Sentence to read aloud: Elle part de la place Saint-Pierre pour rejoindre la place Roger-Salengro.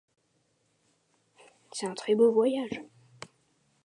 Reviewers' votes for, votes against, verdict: 0, 2, rejected